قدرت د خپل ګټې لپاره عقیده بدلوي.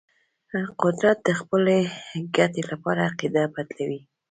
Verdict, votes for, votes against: accepted, 2, 0